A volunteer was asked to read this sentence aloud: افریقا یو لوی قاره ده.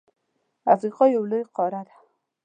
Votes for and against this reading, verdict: 3, 0, accepted